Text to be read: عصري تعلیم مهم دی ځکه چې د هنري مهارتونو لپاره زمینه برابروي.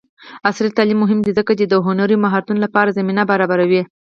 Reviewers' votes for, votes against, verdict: 2, 4, rejected